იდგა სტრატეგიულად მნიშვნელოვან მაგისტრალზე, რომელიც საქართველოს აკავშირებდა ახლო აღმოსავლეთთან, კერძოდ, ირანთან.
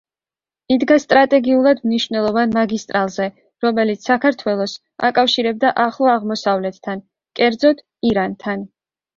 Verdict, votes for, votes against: accepted, 2, 0